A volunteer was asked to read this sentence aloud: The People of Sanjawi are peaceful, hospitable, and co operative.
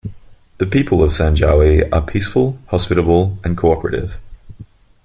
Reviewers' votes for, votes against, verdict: 2, 0, accepted